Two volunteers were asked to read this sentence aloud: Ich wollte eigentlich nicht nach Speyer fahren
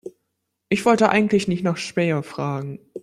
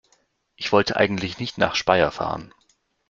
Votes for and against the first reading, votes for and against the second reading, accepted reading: 0, 2, 2, 0, second